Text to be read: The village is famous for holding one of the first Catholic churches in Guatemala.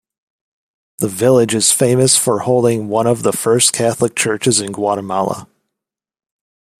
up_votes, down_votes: 2, 0